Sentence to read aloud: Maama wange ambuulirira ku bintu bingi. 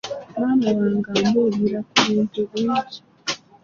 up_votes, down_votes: 1, 2